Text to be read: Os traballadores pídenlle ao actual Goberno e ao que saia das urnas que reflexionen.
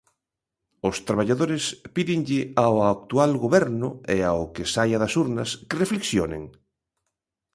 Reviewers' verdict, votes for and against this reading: accepted, 2, 0